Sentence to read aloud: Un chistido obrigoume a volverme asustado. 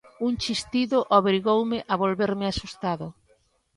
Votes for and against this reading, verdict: 2, 0, accepted